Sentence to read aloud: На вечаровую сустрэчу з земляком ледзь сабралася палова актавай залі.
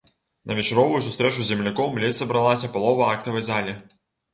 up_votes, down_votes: 2, 0